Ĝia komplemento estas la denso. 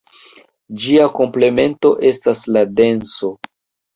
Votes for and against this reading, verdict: 2, 1, accepted